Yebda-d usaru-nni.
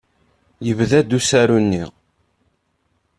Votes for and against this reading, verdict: 2, 0, accepted